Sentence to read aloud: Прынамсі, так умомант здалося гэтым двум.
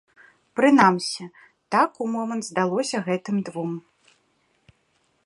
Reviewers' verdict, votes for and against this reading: accepted, 2, 0